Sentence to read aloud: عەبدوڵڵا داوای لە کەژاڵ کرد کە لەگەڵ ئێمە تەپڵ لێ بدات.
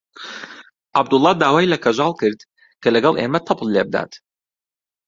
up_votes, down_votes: 2, 0